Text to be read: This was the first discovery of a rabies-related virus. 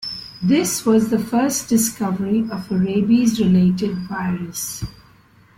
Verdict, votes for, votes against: accepted, 2, 1